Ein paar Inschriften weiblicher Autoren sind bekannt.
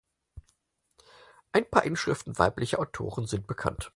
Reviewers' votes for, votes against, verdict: 4, 0, accepted